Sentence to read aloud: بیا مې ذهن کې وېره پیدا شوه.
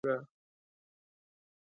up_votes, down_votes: 0, 2